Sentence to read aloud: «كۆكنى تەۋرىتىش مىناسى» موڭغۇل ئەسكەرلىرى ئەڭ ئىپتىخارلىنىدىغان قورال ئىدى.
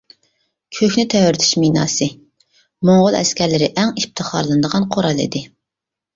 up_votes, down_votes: 2, 0